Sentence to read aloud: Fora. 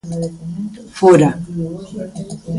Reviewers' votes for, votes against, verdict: 1, 2, rejected